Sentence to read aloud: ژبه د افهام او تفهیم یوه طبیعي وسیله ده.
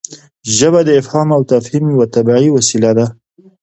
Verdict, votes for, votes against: accepted, 2, 0